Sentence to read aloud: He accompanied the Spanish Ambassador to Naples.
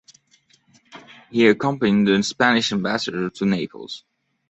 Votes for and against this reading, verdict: 1, 2, rejected